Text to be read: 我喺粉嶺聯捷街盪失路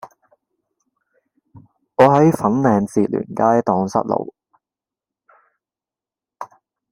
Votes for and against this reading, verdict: 0, 2, rejected